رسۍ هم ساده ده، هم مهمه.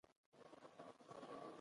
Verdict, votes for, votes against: accepted, 2, 0